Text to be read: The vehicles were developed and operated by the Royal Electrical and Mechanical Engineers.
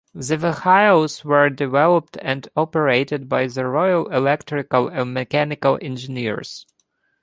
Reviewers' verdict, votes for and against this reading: accepted, 2, 0